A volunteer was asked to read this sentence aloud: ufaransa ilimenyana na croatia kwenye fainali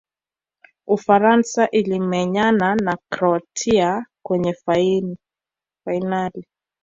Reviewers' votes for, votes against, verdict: 0, 2, rejected